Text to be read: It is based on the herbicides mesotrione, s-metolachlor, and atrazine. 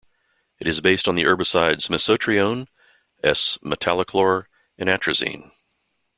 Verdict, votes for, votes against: rejected, 0, 2